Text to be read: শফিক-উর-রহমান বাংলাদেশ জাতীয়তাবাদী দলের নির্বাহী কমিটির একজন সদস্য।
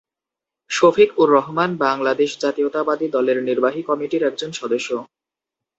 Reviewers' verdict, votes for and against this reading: accepted, 6, 0